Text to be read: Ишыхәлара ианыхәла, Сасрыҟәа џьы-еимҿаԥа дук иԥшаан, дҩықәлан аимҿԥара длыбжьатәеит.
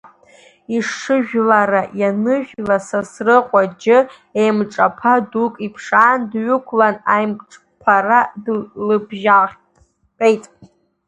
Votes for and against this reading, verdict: 0, 2, rejected